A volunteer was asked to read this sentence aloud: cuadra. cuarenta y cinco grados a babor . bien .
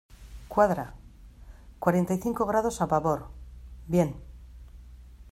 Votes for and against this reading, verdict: 2, 0, accepted